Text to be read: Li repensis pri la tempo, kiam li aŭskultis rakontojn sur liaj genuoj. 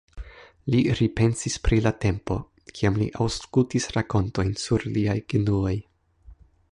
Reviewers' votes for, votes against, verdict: 4, 3, accepted